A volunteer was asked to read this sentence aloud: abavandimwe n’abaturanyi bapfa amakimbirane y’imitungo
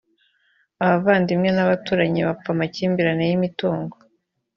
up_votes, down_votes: 2, 0